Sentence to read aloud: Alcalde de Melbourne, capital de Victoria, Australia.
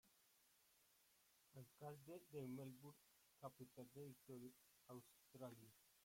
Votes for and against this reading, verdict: 0, 5, rejected